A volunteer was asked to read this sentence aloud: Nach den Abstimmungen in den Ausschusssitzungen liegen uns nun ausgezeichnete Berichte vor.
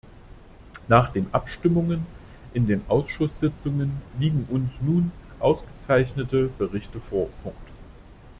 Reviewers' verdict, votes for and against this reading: rejected, 1, 2